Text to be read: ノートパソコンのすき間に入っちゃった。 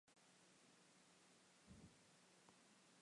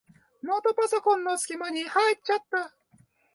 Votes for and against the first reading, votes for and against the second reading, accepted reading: 2, 7, 6, 0, second